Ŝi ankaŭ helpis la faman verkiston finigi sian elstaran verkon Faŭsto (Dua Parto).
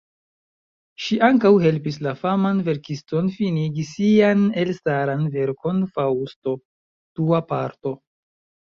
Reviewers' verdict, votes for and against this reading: accepted, 2, 0